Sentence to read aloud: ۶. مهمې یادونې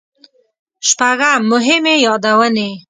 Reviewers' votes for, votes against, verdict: 0, 2, rejected